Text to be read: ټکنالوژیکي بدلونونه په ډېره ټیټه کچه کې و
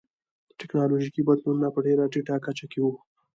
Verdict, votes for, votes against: accepted, 2, 1